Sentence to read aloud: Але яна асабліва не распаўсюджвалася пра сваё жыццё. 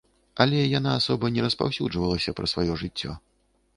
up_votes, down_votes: 0, 3